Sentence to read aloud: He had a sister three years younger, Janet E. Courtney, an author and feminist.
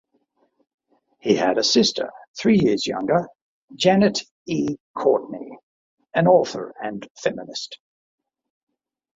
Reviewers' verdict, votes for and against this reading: accepted, 2, 0